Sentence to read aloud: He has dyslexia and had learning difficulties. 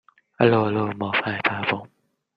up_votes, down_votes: 0, 2